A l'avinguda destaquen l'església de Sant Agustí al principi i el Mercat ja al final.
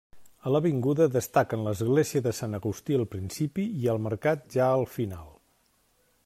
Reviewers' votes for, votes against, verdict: 3, 0, accepted